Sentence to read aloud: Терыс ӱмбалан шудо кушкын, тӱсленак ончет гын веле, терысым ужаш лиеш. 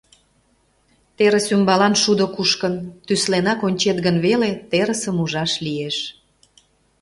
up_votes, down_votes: 2, 0